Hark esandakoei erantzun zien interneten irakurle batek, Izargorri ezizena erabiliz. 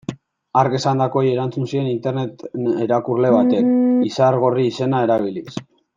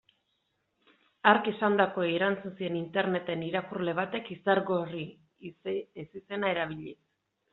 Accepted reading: second